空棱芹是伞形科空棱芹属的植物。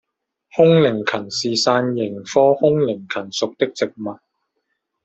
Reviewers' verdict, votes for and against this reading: rejected, 0, 2